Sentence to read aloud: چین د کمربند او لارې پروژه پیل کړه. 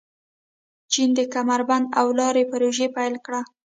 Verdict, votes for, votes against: rejected, 1, 2